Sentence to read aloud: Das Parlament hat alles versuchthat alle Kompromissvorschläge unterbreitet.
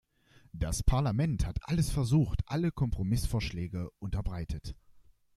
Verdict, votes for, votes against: rejected, 0, 2